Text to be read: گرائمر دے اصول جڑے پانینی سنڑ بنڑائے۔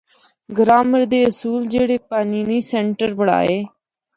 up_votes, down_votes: 0, 2